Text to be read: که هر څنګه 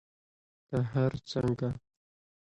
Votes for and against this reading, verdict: 0, 2, rejected